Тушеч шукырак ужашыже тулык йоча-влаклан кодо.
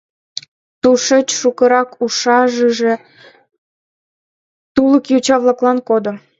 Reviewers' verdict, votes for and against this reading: rejected, 1, 2